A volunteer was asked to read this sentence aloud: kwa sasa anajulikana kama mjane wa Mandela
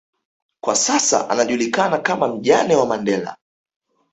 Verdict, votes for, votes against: accepted, 2, 0